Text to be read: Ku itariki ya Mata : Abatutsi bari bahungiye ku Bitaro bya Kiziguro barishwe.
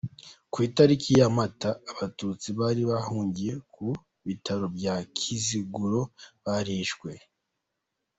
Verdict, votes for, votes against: accepted, 2, 0